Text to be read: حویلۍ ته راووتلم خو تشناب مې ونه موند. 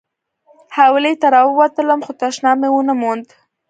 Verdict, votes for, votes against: accepted, 2, 0